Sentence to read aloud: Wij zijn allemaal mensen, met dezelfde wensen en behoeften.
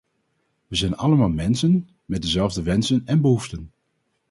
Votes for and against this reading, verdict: 2, 2, rejected